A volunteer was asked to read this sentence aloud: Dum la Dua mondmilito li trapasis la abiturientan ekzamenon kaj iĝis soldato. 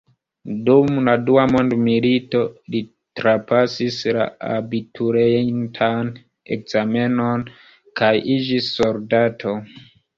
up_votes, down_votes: 1, 3